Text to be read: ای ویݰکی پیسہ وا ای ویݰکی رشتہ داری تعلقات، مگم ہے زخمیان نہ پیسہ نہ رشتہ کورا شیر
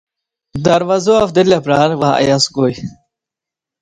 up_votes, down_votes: 1, 2